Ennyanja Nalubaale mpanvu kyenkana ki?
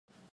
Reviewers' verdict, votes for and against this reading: rejected, 1, 2